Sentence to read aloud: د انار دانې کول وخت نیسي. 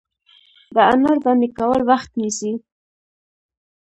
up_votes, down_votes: 2, 0